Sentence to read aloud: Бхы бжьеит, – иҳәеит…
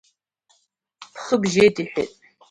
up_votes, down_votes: 2, 0